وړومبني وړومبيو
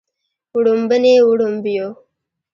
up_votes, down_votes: 3, 1